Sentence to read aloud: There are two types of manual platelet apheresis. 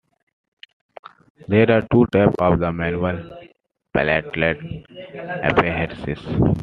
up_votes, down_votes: 1, 2